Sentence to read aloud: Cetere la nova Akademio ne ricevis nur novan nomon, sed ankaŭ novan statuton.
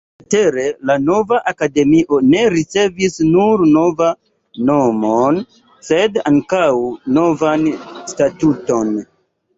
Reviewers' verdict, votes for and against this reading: rejected, 1, 2